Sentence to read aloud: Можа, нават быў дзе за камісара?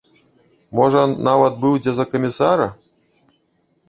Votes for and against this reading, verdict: 1, 2, rejected